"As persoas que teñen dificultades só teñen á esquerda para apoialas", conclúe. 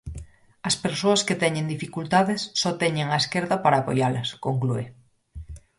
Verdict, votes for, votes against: accepted, 4, 0